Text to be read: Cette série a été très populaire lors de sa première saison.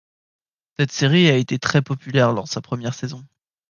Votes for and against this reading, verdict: 2, 0, accepted